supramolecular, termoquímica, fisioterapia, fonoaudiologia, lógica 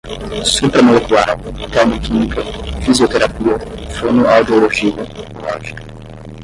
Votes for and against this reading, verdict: 5, 5, rejected